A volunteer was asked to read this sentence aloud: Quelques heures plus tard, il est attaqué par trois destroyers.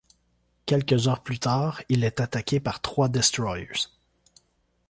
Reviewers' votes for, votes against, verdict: 1, 2, rejected